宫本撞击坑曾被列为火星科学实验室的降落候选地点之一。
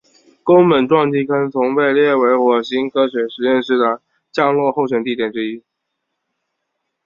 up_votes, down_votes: 4, 0